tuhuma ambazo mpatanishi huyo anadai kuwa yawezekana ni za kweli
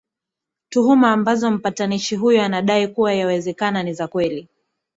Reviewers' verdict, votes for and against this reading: accepted, 2, 0